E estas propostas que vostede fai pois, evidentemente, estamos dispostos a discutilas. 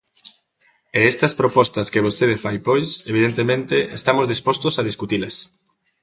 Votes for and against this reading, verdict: 2, 0, accepted